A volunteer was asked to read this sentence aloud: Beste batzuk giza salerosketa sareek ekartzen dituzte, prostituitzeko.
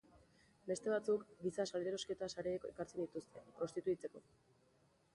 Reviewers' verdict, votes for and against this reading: accepted, 2, 0